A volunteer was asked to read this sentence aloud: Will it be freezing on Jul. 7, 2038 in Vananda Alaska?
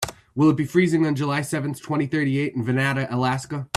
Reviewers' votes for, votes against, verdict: 0, 2, rejected